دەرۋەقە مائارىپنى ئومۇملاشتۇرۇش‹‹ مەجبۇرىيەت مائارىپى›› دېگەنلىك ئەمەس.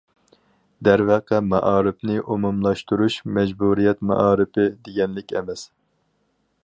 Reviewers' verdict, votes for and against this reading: accepted, 4, 0